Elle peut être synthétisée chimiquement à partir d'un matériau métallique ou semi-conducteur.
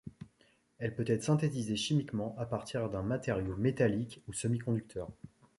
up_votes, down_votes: 2, 0